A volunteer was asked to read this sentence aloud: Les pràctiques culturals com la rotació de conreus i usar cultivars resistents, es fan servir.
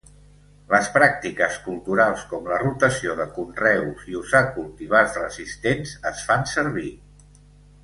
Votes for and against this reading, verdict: 2, 0, accepted